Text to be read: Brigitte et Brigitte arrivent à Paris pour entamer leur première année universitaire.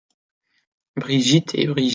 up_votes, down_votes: 0, 2